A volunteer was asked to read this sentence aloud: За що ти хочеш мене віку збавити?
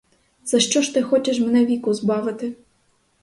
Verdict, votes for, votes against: rejected, 2, 2